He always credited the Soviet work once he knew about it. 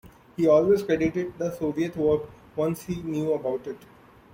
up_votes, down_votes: 2, 0